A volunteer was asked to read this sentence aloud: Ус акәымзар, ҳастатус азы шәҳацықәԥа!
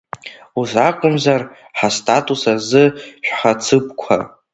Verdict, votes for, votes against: accepted, 2, 1